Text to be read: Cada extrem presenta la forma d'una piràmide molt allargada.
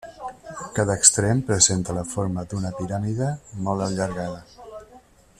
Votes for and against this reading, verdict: 1, 2, rejected